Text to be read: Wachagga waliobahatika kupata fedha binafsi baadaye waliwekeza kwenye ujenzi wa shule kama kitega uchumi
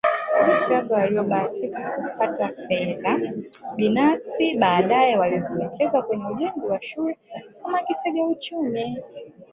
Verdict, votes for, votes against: rejected, 1, 2